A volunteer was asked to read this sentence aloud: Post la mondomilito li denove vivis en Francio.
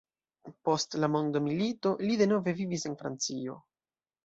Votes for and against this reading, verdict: 2, 0, accepted